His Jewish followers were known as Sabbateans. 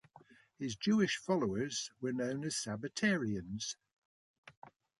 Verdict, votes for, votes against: rejected, 1, 2